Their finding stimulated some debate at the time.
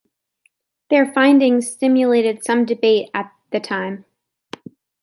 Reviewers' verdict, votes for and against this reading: accepted, 2, 0